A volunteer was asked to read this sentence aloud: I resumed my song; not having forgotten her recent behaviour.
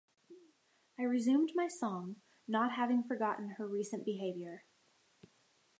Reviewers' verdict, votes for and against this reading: accepted, 2, 0